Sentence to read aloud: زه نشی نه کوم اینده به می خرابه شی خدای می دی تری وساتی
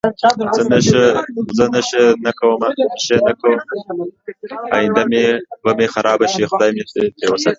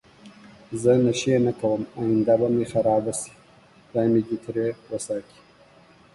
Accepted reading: second